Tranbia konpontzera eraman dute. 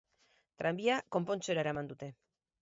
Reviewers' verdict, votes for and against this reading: rejected, 2, 2